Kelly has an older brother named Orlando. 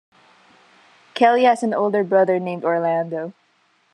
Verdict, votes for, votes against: accepted, 3, 0